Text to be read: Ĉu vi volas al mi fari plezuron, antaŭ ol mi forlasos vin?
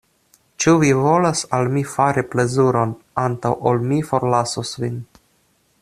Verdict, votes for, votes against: accepted, 2, 0